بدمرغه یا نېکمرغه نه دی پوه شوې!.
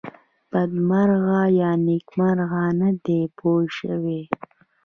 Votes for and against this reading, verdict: 2, 0, accepted